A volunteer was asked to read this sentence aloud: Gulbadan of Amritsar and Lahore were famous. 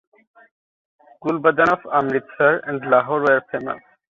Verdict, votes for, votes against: accepted, 2, 0